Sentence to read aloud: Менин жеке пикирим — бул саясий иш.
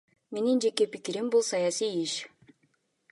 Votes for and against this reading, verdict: 0, 2, rejected